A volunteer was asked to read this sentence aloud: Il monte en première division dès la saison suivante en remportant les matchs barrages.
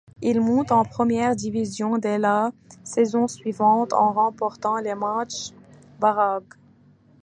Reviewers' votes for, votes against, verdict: 1, 2, rejected